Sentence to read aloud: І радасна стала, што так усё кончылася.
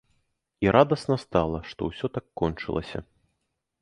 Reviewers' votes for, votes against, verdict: 1, 2, rejected